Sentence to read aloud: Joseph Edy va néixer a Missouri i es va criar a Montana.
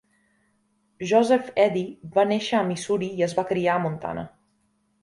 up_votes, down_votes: 2, 0